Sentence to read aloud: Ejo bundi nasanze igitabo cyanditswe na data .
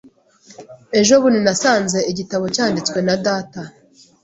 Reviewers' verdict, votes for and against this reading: accepted, 2, 0